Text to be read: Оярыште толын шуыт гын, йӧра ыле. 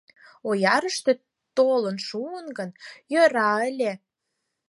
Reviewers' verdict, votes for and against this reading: rejected, 2, 4